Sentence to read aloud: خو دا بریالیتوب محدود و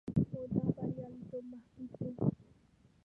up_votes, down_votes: 0, 2